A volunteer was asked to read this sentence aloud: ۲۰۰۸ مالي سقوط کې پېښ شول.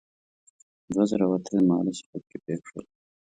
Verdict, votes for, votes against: rejected, 0, 2